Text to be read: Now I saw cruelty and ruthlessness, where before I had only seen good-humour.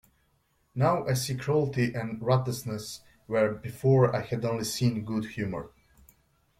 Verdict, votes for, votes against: rejected, 1, 2